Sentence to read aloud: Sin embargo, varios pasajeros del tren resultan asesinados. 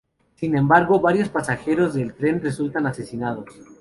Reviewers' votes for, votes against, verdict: 4, 0, accepted